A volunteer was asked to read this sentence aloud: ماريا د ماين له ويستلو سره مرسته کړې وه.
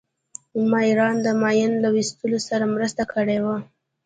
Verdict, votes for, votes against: accepted, 2, 1